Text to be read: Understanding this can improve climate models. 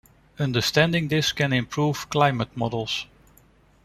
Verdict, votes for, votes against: accepted, 2, 0